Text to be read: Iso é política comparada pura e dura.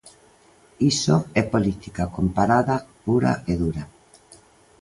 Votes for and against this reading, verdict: 2, 0, accepted